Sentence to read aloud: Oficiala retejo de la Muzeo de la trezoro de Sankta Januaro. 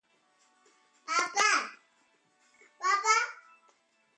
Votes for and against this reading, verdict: 1, 2, rejected